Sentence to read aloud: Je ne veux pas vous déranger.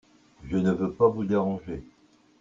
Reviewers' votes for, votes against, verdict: 1, 2, rejected